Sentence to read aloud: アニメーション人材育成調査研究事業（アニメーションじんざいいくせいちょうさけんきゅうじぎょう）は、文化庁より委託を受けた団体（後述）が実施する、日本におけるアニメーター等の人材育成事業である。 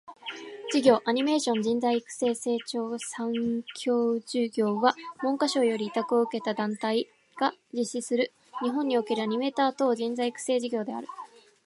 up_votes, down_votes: 2, 1